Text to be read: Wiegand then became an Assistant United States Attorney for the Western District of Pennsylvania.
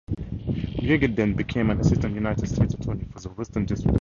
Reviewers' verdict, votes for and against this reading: rejected, 0, 4